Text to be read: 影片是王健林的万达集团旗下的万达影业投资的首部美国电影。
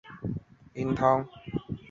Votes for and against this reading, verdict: 2, 0, accepted